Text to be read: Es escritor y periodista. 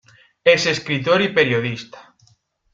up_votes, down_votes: 2, 0